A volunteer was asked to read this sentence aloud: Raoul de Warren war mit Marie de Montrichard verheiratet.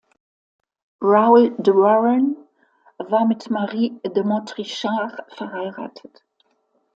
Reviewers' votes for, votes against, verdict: 2, 0, accepted